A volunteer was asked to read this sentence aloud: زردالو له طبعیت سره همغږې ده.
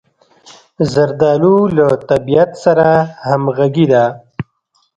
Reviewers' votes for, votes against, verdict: 3, 0, accepted